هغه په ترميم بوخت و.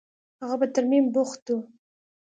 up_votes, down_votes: 2, 0